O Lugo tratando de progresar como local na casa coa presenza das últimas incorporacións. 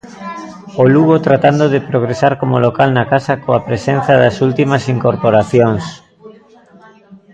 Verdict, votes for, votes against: rejected, 1, 2